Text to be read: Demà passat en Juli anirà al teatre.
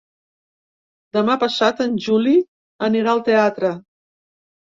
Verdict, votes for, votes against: accepted, 3, 0